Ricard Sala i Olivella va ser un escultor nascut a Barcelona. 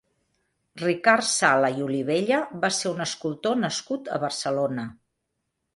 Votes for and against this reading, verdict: 3, 0, accepted